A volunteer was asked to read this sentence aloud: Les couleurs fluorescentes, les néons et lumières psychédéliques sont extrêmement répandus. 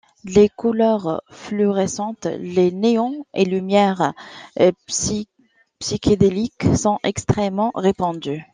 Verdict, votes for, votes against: rejected, 0, 2